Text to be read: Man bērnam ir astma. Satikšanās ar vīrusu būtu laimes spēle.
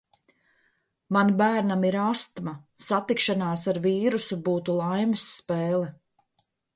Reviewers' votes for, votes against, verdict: 2, 0, accepted